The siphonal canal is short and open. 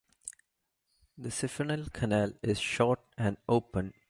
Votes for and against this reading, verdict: 1, 2, rejected